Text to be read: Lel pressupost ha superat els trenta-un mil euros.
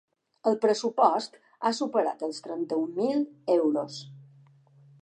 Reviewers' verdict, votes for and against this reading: rejected, 1, 2